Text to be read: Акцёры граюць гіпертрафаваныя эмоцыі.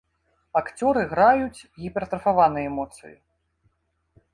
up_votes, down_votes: 2, 0